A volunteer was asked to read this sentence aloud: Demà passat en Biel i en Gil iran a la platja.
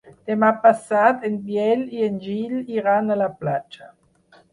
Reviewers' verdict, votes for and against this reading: accepted, 4, 0